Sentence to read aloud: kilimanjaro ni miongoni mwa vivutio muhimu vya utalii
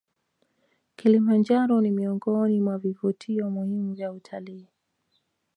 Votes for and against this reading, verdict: 2, 1, accepted